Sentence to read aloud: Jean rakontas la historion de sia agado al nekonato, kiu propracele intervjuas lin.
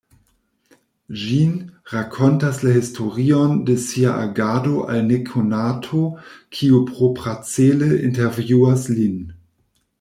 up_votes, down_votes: 1, 2